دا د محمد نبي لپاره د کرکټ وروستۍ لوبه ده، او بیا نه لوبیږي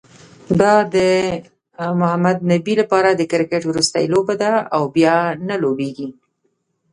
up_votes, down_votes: 0, 2